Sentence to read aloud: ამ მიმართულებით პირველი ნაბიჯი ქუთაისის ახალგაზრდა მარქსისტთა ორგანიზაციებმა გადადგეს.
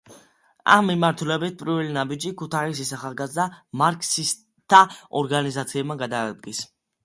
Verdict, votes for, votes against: accepted, 2, 1